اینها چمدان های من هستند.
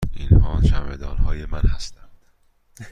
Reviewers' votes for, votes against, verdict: 2, 0, accepted